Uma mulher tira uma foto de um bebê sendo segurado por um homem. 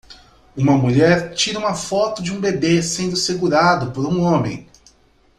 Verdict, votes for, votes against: accepted, 2, 0